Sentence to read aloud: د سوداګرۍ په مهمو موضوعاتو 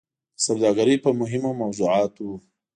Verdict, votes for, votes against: accepted, 2, 0